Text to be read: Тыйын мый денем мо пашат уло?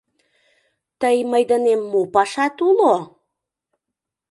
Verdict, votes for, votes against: rejected, 0, 2